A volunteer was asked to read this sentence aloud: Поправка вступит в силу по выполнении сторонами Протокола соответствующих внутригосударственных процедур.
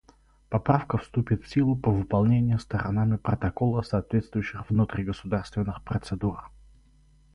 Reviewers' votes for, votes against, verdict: 2, 0, accepted